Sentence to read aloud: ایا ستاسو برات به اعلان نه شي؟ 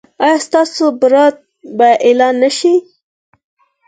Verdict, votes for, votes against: accepted, 4, 0